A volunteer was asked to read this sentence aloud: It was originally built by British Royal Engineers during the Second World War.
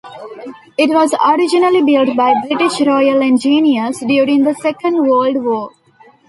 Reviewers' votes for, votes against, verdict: 0, 2, rejected